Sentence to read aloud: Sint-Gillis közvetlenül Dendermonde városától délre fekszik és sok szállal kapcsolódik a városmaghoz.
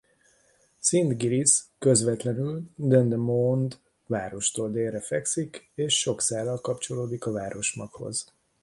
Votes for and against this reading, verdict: 1, 2, rejected